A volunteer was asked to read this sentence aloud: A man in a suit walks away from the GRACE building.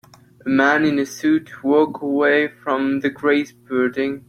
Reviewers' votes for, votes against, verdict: 0, 2, rejected